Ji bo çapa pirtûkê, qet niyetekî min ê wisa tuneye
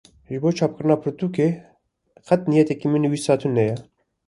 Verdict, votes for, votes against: rejected, 1, 2